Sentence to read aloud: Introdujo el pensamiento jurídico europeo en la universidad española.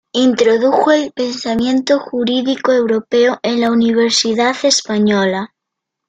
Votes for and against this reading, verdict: 2, 0, accepted